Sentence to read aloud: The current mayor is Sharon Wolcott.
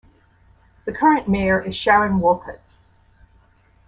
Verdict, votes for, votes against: rejected, 1, 2